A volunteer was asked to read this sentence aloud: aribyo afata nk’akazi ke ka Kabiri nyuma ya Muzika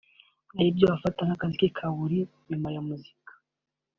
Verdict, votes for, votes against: rejected, 0, 3